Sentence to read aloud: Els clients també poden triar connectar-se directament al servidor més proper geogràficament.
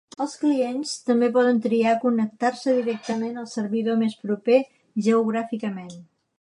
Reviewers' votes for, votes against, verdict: 2, 0, accepted